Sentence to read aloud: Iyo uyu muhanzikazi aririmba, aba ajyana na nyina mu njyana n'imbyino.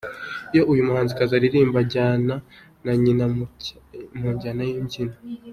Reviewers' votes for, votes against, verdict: 2, 1, accepted